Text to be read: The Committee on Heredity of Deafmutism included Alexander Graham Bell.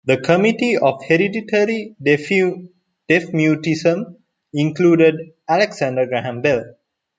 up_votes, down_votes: 1, 2